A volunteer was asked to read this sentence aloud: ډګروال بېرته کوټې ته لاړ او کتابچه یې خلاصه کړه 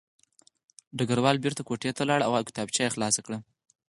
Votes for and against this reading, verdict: 4, 2, accepted